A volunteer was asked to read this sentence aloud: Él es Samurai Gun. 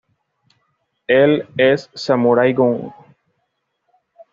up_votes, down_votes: 2, 0